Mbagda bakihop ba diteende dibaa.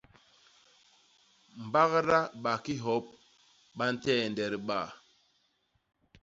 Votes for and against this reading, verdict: 0, 2, rejected